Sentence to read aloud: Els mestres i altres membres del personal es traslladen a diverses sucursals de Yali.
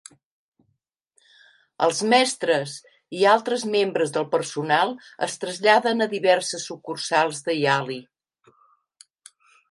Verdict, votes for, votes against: accepted, 3, 0